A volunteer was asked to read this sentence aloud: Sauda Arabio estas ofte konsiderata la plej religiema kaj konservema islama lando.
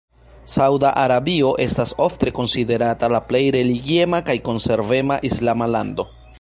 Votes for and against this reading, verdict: 2, 0, accepted